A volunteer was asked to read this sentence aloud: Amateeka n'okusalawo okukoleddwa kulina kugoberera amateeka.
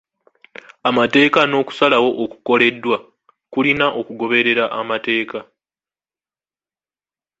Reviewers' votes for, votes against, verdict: 2, 1, accepted